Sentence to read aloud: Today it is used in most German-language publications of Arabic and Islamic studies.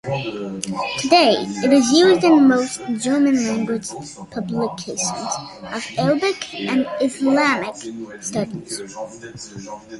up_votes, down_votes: 2, 1